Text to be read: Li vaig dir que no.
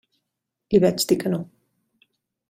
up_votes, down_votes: 2, 0